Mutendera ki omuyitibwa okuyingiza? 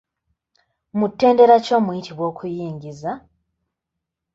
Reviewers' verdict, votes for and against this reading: rejected, 0, 2